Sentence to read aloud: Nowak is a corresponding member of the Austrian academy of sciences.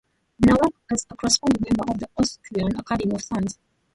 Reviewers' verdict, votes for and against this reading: rejected, 0, 2